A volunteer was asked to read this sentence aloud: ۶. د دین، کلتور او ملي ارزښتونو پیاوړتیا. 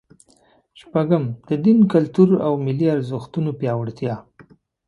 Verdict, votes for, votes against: rejected, 0, 2